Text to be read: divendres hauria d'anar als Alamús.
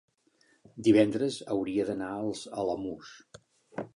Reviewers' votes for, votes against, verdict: 5, 0, accepted